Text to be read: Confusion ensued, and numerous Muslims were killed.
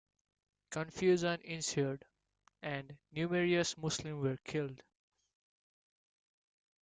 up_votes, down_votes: 0, 2